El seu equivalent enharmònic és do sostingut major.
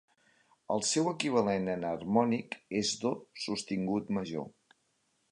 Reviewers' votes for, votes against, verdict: 2, 0, accepted